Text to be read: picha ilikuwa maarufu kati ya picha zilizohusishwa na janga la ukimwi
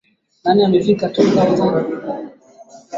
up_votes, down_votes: 0, 2